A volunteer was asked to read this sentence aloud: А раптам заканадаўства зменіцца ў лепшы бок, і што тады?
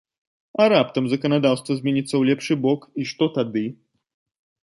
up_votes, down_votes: 2, 0